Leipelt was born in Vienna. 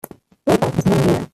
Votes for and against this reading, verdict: 0, 2, rejected